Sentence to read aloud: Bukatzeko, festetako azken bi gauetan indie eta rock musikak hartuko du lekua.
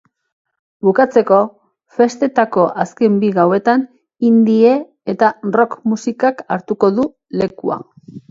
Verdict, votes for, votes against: accepted, 3, 0